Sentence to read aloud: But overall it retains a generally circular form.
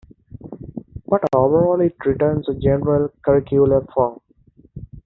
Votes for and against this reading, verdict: 0, 3, rejected